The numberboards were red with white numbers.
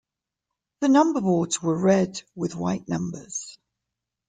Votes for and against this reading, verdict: 2, 0, accepted